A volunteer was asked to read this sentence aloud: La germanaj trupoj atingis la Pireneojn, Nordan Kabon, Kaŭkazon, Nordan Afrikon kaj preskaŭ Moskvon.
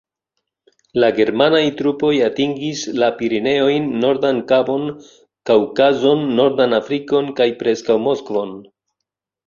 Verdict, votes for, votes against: rejected, 1, 2